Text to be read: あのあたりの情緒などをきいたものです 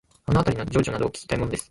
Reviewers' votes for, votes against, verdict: 0, 2, rejected